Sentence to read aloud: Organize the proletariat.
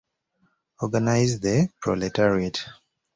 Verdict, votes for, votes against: accepted, 3, 0